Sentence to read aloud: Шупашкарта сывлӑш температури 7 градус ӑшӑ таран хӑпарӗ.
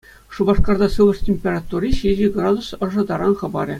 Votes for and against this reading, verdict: 0, 2, rejected